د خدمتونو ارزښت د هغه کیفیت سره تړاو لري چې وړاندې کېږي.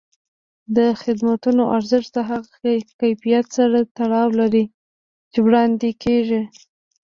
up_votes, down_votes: 0, 2